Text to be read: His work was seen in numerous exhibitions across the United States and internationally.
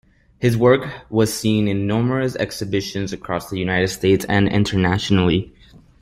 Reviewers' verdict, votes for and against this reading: accepted, 2, 0